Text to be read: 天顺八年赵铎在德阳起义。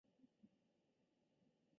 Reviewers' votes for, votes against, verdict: 0, 2, rejected